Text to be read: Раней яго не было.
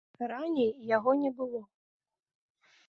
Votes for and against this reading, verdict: 0, 3, rejected